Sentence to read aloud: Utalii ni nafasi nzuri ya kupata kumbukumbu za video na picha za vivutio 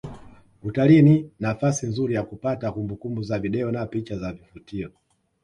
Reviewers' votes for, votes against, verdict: 2, 0, accepted